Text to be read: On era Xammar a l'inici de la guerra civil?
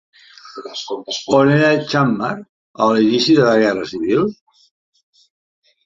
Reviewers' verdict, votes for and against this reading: rejected, 0, 2